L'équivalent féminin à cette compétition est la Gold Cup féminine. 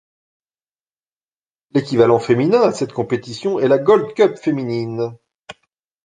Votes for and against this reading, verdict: 3, 0, accepted